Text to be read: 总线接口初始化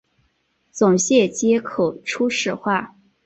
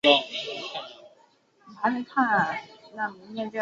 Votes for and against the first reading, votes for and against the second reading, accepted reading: 3, 0, 1, 2, first